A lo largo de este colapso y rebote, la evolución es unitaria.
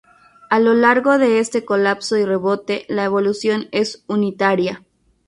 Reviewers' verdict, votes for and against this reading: accepted, 4, 0